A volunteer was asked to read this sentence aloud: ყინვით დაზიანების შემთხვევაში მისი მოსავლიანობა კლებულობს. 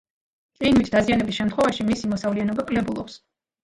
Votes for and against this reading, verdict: 2, 1, accepted